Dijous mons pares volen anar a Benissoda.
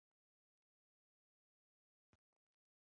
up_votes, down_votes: 0, 2